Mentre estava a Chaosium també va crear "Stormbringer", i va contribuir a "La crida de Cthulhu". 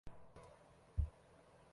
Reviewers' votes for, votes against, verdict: 0, 6, rejected